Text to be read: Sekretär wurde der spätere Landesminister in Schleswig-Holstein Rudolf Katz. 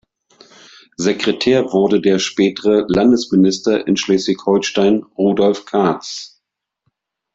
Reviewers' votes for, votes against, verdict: 1, 2, rejected